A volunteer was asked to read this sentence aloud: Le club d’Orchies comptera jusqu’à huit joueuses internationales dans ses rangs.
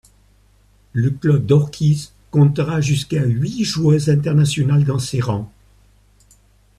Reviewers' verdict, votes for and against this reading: accepted, 2, 1